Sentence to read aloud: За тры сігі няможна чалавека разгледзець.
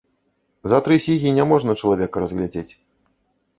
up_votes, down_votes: 0, 2